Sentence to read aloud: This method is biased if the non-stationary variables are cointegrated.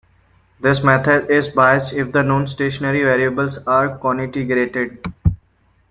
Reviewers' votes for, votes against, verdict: 2, 0, accepted